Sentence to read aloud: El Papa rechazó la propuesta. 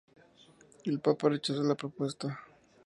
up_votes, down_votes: 2, 0